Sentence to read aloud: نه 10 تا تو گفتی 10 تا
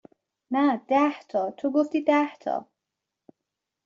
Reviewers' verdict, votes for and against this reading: rejected, 0, 2